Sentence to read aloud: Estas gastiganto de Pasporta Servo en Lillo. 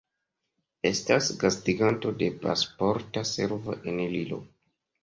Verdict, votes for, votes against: accepted, 2, 1